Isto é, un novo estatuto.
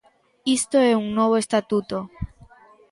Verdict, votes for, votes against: accepted, 2, 0